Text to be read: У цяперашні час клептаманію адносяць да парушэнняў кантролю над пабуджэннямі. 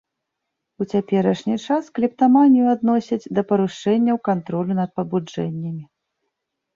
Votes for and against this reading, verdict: 2, 0, accepted